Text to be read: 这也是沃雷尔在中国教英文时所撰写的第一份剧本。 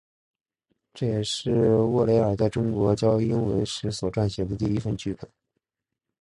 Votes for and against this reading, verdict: 4, 0, accepted